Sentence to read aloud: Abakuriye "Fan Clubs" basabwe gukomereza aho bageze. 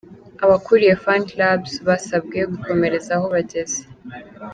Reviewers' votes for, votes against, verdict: 2, 1, accepted